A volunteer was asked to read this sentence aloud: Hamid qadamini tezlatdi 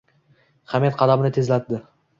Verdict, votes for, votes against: rejected, 1, 2